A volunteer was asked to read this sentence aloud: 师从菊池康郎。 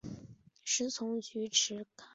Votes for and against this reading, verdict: 0, 2, rejected